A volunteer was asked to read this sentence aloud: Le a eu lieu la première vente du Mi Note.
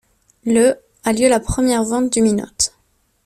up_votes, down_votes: 1, 2